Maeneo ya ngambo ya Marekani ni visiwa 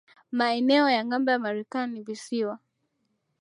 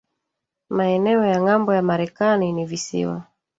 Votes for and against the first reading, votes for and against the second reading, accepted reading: 6, 1, 1, 2, first